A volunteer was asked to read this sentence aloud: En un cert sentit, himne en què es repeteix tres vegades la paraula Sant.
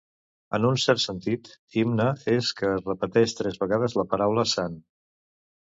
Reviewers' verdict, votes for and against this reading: rejected, 1, 2